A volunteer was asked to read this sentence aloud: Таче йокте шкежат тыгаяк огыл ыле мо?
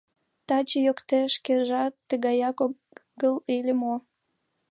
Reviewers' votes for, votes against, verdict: 0, 2, rejected